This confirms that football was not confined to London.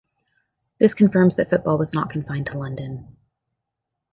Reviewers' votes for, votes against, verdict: 2, 0, accepted